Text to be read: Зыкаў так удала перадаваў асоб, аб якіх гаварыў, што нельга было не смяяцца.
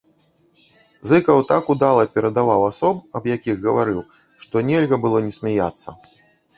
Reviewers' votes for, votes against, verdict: 0, 2, rejected